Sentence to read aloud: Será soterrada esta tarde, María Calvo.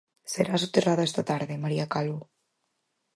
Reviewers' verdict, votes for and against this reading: accepted, 4, 0